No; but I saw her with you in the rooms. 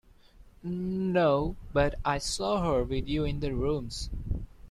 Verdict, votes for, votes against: accepted, 2, 0